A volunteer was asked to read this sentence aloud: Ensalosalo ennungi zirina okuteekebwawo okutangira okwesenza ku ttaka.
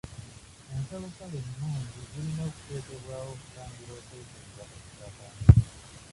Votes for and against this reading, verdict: 0, 2, rejected